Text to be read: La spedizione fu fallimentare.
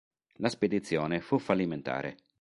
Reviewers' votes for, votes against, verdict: 4, 0, accepted